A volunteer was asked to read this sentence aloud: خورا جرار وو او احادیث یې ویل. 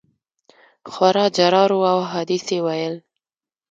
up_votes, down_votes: 2, 0